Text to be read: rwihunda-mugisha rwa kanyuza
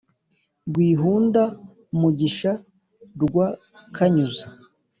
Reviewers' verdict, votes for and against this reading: accepted, 2, 0